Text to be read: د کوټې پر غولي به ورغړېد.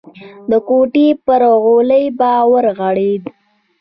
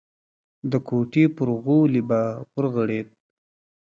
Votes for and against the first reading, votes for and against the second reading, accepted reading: 1, 2, 2, 1, second